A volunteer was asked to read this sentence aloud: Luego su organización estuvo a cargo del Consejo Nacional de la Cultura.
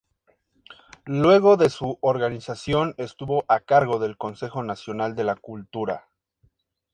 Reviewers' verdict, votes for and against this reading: rejected, 0, 2